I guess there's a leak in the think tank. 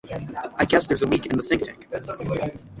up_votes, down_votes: 0, 6